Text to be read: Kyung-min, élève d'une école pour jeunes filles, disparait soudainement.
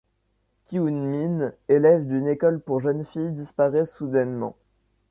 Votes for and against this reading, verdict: 2, 0, accepted